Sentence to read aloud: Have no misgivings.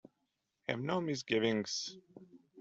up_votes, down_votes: 1, 2